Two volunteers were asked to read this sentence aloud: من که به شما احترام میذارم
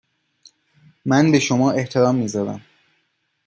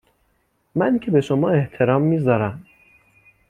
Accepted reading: second